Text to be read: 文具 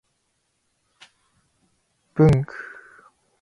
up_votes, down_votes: 2, 0